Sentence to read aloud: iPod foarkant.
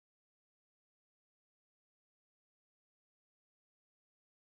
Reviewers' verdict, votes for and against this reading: rejected, 0, 2